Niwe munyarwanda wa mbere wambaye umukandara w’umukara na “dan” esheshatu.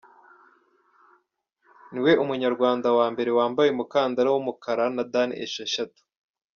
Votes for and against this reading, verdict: 2, 0, accepted